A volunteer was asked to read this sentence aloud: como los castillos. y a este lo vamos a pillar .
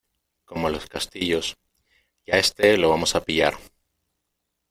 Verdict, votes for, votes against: accepted, 2, 0